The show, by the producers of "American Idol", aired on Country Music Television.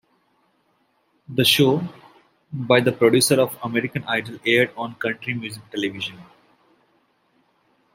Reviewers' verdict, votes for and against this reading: accepted, 2, 1